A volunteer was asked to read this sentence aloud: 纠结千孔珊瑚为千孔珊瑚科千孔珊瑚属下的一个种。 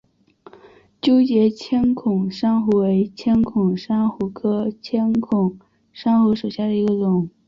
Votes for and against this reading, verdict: 3, 0, accepted